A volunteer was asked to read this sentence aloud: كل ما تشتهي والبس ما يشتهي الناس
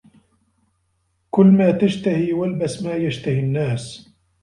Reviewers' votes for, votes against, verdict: 0, 2, rejected